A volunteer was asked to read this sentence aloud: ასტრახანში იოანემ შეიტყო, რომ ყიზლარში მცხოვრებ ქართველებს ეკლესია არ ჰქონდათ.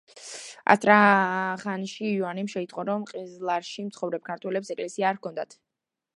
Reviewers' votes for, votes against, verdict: 1, 2, rejected